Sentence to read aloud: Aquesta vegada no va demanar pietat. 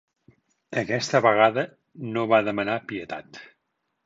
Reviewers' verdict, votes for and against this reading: accepted, 3, 0